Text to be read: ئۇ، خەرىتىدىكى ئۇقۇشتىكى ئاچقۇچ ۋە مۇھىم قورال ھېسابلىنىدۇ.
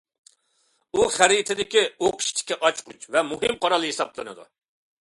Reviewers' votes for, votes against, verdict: 2, 0, accepted